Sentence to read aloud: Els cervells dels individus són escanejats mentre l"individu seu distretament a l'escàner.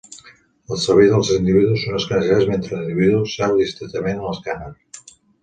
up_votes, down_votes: 0, 2